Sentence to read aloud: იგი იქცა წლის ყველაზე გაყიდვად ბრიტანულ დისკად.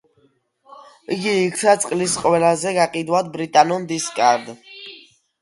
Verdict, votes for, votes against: accepted, 2, 1